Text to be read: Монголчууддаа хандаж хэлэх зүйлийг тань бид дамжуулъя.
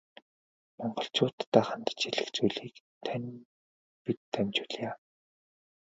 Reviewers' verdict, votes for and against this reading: accepted, 2, 0